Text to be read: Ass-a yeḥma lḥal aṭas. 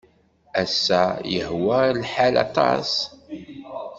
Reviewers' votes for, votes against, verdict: 1, 2, rejected